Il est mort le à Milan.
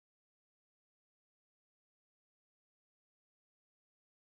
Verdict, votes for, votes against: rejected, 0, 2